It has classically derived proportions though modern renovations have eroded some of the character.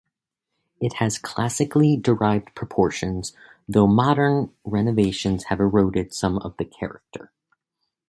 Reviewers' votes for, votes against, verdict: 2, 0, accepted